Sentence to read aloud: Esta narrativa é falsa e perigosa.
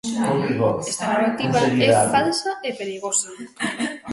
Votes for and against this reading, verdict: 1, 2, rejected